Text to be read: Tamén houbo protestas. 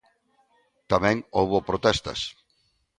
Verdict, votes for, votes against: accepted, 2, 0